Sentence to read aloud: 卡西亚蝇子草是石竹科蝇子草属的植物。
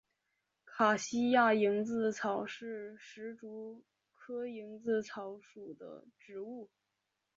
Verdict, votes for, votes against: accepted, 3, 1